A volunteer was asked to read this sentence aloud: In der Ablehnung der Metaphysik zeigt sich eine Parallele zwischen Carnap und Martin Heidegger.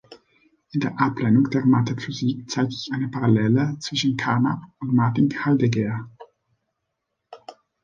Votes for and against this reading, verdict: 0, 2, rejected